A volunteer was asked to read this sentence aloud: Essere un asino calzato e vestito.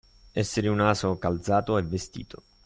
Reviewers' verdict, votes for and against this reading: rejected, 0, 2